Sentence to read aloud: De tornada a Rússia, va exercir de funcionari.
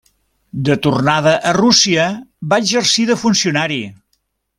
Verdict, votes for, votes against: accepted, 3, 0